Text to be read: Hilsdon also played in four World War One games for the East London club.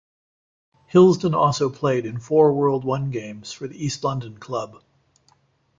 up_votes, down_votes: 0, 2